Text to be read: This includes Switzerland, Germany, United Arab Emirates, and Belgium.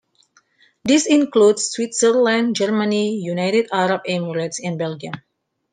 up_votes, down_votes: 2, 1